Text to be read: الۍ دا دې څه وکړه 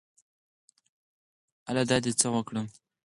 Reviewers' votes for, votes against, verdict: 0, 4, rejected